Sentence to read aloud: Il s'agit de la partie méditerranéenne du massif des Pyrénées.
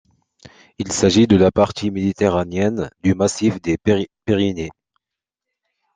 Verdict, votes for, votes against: rejected, 0, 2